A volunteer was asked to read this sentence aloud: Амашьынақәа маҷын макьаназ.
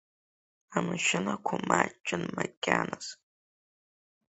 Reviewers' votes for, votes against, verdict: 3, 2, accepted